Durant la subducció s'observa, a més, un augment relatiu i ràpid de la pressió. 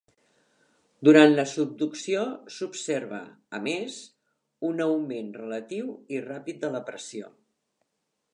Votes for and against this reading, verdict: 3, 0, accepted